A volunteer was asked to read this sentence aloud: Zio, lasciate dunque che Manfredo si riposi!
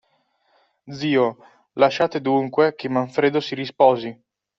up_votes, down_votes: 0, 2